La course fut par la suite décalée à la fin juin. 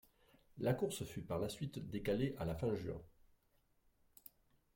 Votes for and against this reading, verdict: 0, 2, rejected